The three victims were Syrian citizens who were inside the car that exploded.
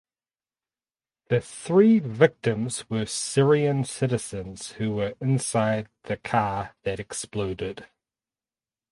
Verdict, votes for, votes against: accepted, 4, 2